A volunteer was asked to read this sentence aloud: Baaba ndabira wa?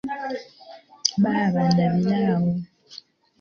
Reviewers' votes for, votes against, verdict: 1, 2, rejected